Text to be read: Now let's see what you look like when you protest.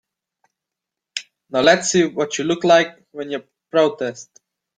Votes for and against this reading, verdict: 3, 0, accepted